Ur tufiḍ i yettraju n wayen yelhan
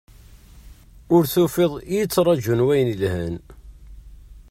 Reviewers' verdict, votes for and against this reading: rejected, 1, 2